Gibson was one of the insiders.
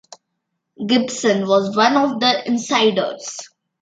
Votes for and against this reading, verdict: 2, 0, accepted